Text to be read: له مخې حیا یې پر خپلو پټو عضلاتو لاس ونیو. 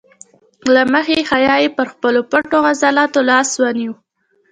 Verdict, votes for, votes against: accepted, 2, 0